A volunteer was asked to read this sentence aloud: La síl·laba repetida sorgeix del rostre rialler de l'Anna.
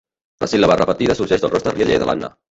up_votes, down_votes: 0, 2